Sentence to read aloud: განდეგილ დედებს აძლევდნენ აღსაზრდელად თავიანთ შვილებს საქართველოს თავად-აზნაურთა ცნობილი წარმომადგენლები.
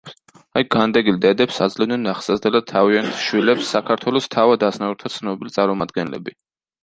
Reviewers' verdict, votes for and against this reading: rejected, 1, 2